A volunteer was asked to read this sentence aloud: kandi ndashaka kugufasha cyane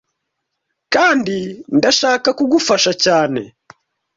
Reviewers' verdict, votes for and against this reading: accepted, 2, 0